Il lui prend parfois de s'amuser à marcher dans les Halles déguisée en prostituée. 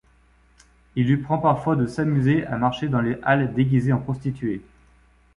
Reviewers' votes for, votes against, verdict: 2, 0, accepted